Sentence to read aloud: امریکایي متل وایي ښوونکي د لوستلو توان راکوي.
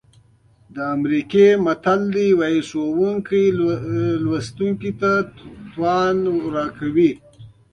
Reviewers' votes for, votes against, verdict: 0, 2, rejected